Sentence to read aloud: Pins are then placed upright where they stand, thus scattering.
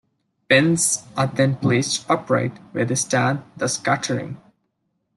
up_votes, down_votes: 2, 0